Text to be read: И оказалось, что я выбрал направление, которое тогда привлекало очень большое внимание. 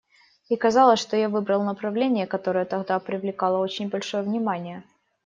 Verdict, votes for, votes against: accepted, 2, 1